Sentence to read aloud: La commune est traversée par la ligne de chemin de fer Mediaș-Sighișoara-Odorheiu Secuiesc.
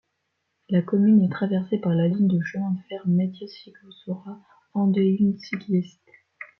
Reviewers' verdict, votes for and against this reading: rejected, 0, 2